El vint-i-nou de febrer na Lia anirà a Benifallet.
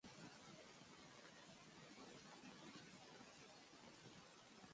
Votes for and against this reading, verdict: 0, 2, rejected